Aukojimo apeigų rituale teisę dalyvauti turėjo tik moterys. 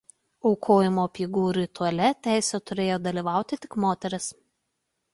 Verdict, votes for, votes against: rejected, 1, 2